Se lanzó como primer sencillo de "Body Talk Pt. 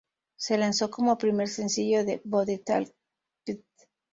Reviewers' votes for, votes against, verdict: 0, 2, rejected